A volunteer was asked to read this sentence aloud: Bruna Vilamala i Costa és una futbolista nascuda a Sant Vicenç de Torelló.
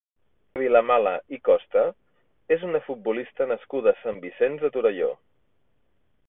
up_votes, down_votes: 0, 2